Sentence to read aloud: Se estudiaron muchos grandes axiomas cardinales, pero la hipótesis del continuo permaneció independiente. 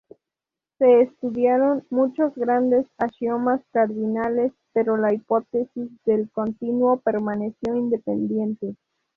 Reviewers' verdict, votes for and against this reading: accepted, 2, 0